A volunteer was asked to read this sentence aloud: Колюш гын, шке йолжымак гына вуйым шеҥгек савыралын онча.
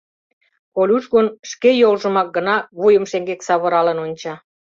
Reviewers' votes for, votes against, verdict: 2, 0, accepted